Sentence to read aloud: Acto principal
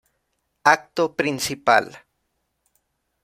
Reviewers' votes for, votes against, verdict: 2, 0, accepted